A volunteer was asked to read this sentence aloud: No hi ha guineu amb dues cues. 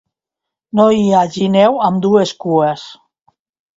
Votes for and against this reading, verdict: 0, 2, rejected